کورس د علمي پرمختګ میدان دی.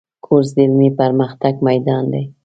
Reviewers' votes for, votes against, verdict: 2, 0, accepted